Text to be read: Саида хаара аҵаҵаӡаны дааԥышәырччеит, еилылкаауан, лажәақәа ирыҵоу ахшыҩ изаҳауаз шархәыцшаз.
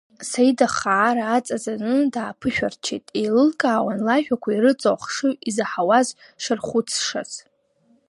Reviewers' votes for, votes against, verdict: 0, 2, rejected